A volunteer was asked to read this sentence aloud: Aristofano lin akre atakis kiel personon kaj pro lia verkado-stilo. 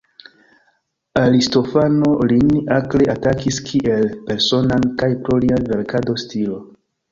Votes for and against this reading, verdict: 0, 2, rejected